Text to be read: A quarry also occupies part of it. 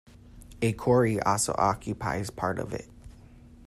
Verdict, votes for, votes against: rejected, 0, 2